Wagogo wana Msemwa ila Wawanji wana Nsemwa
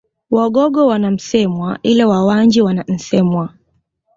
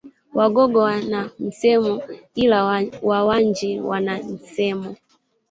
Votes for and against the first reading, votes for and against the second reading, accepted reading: 2, 0, 1, 2, first